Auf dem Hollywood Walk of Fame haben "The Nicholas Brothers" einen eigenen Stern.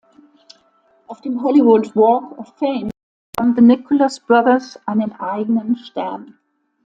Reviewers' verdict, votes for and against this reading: accepted, 2, 0